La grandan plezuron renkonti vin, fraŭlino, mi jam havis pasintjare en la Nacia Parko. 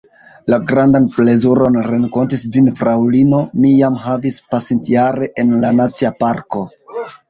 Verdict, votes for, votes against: accepted, 2, 0